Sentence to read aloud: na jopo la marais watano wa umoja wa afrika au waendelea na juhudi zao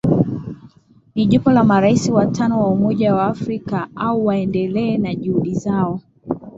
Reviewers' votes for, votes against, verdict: 3, 3, rejected